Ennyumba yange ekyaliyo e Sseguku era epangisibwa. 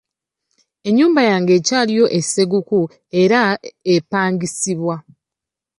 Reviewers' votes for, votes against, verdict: 2, 1, accepted